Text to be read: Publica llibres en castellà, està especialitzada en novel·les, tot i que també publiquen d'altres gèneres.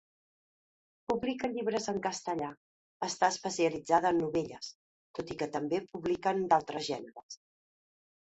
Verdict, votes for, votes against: rejected, 0, 2